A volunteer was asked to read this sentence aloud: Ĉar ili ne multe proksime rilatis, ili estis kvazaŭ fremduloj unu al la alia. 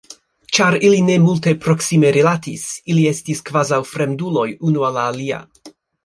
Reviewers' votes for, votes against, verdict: 2, 0, accepted